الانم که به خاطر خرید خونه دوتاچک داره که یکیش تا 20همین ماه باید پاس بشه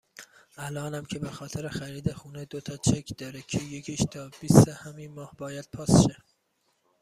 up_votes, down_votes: 0, 2